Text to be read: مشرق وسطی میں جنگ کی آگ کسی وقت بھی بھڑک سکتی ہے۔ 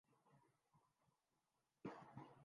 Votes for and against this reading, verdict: 0, 2, rejected